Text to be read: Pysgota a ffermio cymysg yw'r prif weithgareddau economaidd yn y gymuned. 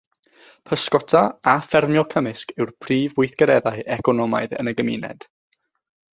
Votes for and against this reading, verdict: 3, 3, rejected